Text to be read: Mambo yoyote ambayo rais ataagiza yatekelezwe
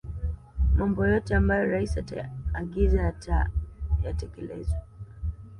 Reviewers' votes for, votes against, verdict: 0, 2, rejected